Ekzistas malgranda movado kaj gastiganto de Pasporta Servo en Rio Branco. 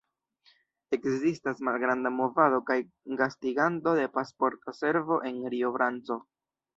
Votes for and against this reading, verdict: 0, 2, rejected